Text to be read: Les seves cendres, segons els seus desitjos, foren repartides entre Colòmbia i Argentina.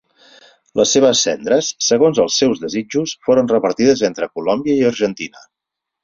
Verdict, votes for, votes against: accepted, 8, 0